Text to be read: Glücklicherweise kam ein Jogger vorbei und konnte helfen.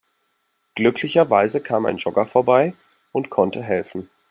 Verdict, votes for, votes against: accepted, 2, 0